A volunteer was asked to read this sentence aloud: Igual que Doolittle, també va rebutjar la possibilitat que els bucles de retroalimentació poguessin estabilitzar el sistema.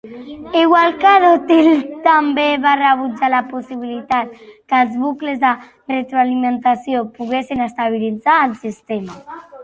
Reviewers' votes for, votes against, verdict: 1, 3, rejected